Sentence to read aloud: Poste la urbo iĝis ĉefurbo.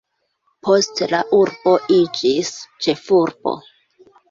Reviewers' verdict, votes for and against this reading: rejected, 1, 2